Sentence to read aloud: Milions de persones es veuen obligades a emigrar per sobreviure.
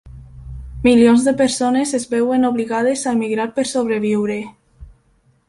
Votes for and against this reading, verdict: 3, 0, accepted